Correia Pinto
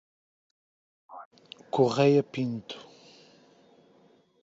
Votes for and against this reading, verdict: 1, 2, rejected